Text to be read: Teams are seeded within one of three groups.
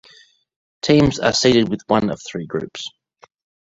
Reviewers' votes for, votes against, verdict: 1, 2, rejected